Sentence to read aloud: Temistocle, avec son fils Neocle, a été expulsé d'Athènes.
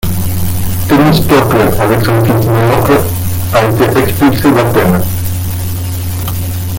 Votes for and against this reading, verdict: 0, 2, rejected